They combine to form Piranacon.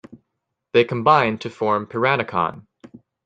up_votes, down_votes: 2, 0